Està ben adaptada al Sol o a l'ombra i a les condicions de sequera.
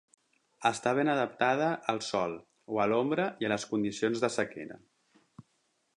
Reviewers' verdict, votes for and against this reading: accepted, 4, 0